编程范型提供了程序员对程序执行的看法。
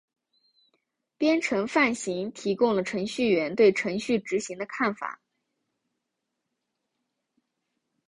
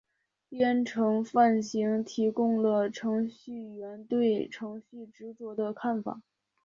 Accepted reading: second